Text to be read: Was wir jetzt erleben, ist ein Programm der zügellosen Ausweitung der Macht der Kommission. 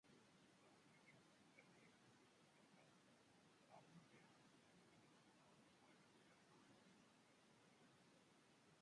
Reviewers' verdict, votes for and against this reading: rejected, 0, 2